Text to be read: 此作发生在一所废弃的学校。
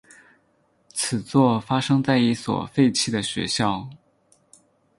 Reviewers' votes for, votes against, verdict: 6, 0, accepted